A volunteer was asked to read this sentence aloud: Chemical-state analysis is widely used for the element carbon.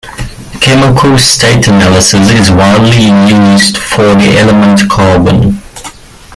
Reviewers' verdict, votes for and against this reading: rejected, 1, 2